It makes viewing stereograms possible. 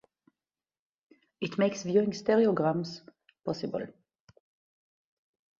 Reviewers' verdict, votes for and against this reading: accepted, 4, 0